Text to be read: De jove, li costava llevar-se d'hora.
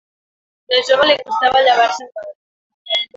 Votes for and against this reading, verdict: 1, 2, rejected